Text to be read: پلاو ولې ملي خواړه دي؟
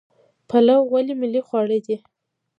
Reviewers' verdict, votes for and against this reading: rejected, 1, 2